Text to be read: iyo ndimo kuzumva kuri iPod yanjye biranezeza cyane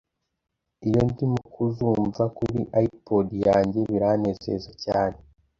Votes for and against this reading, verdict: 2, 0, accepted